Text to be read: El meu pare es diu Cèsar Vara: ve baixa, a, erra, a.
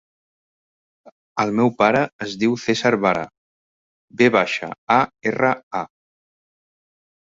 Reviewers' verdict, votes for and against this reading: rejected, 1, 2